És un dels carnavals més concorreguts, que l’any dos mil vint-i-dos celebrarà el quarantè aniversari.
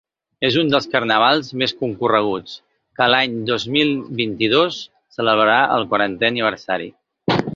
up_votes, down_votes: 2, 0